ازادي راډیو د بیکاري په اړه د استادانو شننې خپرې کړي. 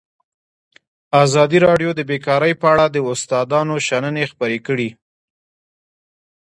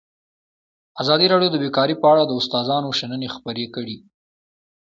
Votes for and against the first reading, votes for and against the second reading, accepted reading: 1, 2, 2, 0, second